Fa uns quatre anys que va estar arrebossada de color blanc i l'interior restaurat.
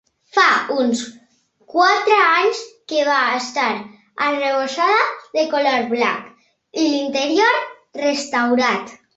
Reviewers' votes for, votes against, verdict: 2, 0, accepted